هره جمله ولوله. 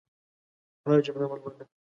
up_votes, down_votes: 1, 2